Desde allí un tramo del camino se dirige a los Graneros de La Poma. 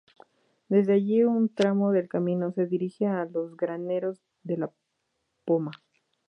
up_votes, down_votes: 2, 0